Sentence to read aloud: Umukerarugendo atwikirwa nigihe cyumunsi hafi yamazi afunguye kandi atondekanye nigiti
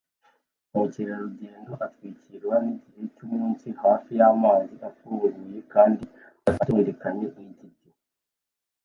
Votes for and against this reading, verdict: 1, 2, rejected